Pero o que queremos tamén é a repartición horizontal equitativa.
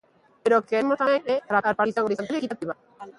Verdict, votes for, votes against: rejected, 0, 2